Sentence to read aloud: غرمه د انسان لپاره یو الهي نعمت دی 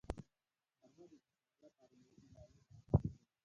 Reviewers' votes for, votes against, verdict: 1, 2, rejected